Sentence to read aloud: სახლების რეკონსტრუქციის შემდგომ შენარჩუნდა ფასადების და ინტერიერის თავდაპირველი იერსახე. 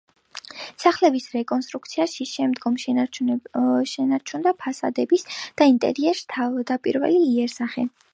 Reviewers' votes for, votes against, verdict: 0, 2, rejected